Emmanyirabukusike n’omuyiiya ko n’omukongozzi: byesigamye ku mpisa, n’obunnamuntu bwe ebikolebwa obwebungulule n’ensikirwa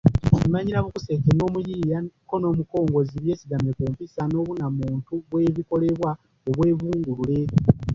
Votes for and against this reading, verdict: 0, 2, rejected